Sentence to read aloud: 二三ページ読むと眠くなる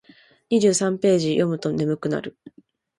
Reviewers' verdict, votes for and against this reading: rejected, 1, 2